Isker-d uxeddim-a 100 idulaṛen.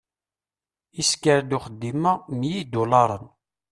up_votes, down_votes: 0, 2